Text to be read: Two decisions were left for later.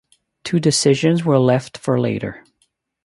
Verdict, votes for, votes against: accepted, 2, 0